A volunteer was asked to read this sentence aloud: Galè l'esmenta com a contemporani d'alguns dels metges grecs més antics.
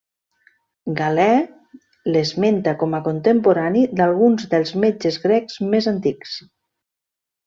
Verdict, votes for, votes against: accepted, 3, 0